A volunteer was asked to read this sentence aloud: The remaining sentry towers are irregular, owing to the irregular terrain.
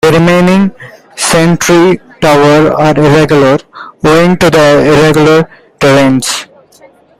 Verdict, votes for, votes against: rejected, 0, 2